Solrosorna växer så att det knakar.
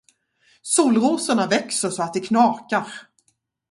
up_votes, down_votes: 4, 0